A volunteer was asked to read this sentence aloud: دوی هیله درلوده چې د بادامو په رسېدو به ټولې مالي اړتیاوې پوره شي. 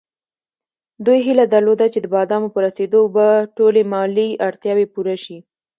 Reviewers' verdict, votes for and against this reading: accepted, 2, 0